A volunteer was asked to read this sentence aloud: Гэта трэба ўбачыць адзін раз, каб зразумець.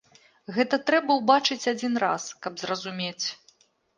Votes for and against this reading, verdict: 2, 0, accepted